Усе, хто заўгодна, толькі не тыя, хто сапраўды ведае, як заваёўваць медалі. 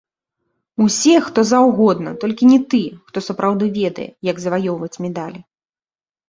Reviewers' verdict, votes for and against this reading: rejected, 0, 2